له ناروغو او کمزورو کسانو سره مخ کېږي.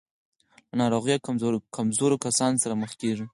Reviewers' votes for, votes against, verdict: 2, 4, rejected